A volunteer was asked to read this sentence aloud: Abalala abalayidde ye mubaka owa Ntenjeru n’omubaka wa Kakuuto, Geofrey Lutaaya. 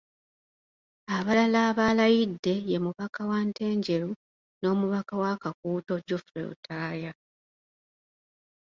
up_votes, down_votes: 2, 0